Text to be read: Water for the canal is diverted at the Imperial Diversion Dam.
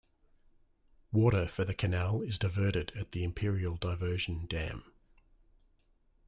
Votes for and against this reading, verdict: 3, 0, accepted